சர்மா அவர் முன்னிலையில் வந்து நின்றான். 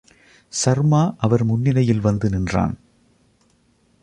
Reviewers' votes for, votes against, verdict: 2, 0, accepted